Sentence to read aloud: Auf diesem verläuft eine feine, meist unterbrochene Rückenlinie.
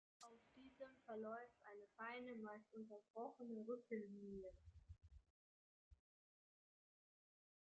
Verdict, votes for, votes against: rejected, 1, 2